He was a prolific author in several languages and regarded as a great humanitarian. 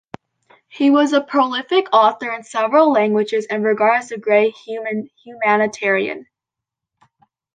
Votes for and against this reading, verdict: 0, 2, rejected